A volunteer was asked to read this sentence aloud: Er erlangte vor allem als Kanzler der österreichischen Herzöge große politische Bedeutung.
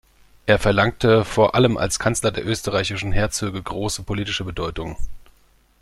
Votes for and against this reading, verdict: 1, 2, rejected